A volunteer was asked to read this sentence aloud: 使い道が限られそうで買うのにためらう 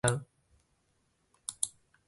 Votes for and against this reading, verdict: 0, 2, rejected